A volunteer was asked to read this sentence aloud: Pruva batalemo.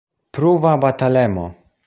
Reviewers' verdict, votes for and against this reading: accepted, 2, 0